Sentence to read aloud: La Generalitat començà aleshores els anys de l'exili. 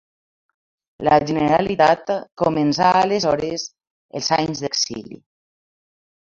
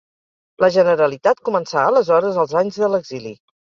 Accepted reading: second